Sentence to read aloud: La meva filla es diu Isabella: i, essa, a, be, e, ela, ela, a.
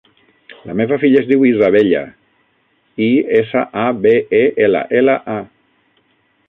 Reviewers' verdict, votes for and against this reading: rejected, 3, 6